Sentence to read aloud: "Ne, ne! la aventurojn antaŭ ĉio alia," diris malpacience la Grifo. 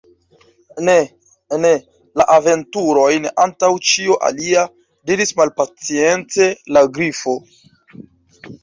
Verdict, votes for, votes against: rejected, 0, 2